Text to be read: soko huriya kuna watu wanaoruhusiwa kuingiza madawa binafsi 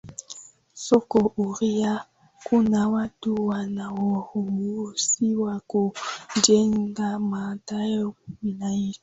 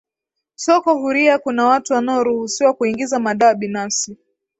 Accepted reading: second